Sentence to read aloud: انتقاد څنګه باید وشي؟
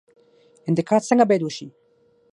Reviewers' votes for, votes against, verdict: 3, 6, rejected